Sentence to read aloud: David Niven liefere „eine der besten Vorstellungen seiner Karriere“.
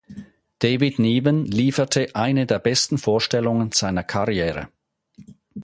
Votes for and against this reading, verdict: 0, 4, rejected